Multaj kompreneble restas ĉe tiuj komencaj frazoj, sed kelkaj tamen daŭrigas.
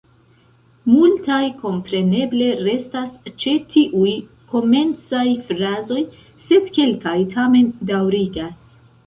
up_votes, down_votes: 1, 2